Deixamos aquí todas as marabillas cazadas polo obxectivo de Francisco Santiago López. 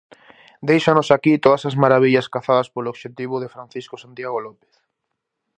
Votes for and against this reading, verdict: 4, 0, accepted